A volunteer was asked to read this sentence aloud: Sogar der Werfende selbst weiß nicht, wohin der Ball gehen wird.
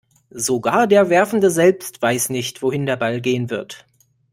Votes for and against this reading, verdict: 2, 0, accepted